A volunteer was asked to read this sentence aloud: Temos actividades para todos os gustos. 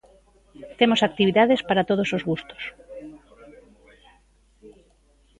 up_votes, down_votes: 2, 1